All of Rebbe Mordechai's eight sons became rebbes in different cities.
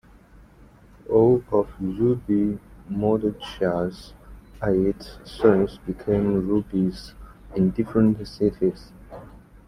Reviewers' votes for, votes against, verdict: 1, 2, rejected